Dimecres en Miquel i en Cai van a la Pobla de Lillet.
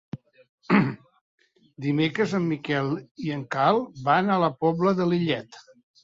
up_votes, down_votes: 1, 2